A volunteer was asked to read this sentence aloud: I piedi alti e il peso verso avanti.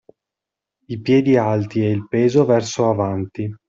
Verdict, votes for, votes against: accepted, 2, 0